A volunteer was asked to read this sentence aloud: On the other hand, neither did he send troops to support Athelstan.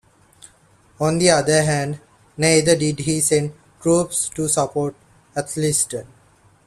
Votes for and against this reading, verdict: 1, 2, rejected